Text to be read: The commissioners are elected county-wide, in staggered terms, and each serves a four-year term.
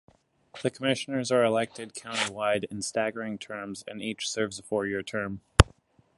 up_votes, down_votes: 2, 1